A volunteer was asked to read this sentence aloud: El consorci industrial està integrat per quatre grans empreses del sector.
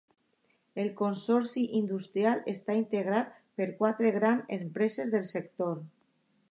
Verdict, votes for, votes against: accepted, 2, 1